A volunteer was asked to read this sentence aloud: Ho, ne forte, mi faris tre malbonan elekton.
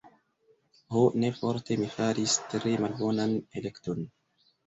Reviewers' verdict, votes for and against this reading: accepted, 2, 1